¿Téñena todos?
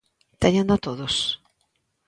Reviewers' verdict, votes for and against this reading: accepted, 2, 0